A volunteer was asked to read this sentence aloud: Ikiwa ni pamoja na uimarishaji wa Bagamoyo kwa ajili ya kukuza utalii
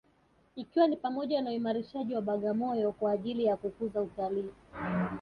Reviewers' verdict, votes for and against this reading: accepted, 4, 0